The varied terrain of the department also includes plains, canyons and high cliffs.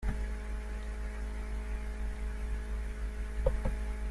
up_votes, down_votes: 0, 2